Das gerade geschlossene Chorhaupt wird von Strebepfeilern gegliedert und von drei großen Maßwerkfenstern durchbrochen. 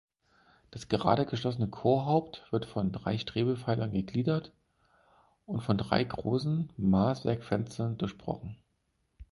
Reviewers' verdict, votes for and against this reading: rejected, 2, 4